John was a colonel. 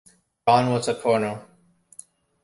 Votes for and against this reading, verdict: 0, 2, rejected